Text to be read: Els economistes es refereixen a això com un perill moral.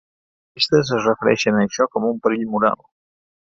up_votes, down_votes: 0, 2